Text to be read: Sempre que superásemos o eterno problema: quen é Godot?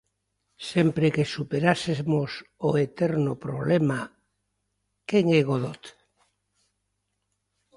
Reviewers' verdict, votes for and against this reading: accepted, 2, 0